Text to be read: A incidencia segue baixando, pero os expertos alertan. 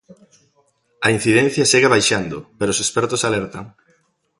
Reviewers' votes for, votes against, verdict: 2, 0, accepted